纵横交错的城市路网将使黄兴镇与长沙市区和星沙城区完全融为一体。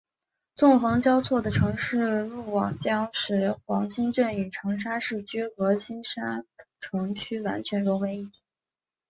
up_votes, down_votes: 0, 2